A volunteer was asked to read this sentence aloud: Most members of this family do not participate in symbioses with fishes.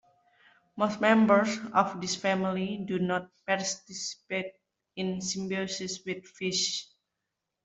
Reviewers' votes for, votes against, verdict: 1, 2, rejected